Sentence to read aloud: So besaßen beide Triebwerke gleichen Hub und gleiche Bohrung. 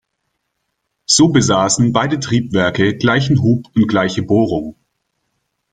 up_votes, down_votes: 3, 0